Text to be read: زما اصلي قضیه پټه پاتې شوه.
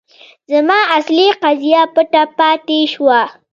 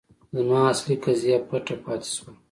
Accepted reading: second